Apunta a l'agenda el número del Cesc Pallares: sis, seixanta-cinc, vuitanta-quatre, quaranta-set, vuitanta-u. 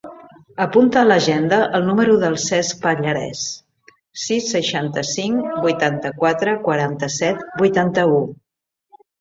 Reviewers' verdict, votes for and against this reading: rejected, 0, 2